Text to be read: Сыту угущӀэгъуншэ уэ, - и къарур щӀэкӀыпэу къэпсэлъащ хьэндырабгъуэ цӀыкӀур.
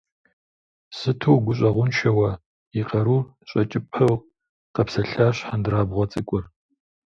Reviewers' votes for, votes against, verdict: 1, 2, rejected